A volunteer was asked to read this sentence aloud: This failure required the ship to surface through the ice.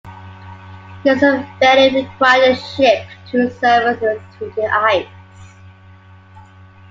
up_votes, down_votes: 1, 2